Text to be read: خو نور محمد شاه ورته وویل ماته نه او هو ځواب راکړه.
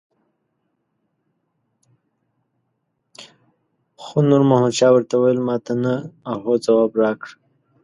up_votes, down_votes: 1, 2